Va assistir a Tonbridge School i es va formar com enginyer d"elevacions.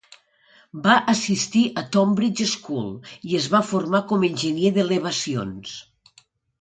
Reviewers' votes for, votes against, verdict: 2, 1, accepted